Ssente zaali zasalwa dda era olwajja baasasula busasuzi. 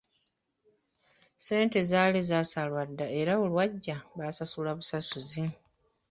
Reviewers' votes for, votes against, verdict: 0, 2, rejected